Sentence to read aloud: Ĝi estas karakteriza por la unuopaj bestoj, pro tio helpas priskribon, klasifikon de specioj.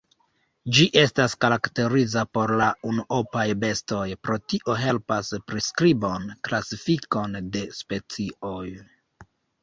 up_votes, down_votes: 0, 2